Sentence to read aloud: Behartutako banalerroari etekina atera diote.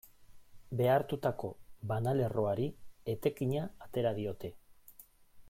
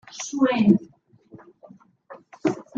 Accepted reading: first